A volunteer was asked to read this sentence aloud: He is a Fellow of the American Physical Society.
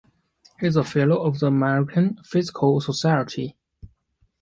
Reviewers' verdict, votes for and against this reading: accepted, 2, 0